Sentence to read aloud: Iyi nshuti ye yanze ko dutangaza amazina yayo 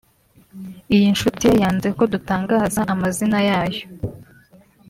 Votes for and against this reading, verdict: 4, 0, accepted